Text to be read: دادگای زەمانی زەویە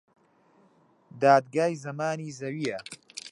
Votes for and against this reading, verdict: 2, 1, accepted